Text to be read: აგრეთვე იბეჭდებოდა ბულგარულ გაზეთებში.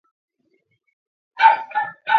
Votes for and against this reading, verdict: 0, 2, rejected